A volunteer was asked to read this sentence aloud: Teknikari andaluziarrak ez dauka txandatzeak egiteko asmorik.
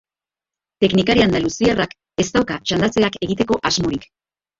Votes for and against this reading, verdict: 2, 0, accepted